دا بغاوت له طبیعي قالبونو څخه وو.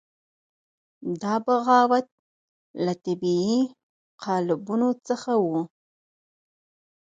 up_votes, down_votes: 4, 0